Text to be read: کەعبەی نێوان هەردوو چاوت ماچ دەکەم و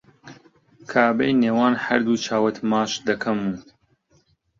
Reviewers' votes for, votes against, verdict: 2, 1, accepted